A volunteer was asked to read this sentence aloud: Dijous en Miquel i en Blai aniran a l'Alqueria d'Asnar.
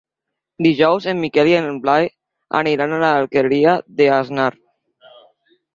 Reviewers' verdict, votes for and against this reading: rejected, 1, 2